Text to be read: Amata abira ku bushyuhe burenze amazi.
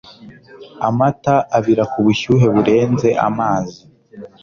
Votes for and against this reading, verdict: 3, 0, accepted